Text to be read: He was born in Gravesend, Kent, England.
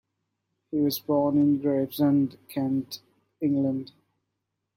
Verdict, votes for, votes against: accepted, 2, 0